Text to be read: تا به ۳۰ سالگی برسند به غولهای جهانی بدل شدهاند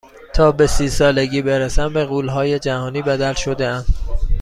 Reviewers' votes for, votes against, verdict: 0, 2, rejected